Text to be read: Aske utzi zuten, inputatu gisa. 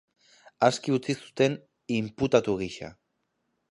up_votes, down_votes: 2, 0